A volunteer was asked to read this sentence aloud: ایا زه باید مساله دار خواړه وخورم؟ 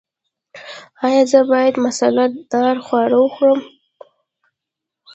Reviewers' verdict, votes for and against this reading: rejected, 1, 2